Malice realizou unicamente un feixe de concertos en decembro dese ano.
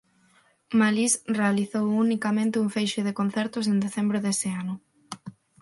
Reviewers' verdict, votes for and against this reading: accepted, 6, 0